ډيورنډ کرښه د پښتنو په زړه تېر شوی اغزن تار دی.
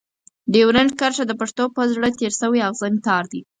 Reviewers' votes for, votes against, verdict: 4, 0, accepted